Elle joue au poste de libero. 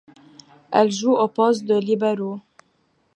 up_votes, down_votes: 2, 0